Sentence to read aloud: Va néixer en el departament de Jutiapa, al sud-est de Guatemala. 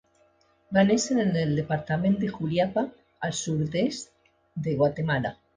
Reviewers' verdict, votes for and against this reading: rejected, 0, 2